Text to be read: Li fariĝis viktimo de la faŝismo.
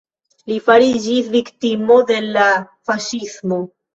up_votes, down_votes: 2, 0